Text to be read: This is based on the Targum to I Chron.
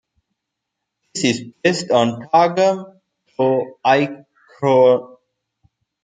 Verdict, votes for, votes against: rejected, 0, 2